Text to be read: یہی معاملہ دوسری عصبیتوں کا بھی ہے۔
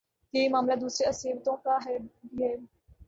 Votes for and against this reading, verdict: 0, 2, rejected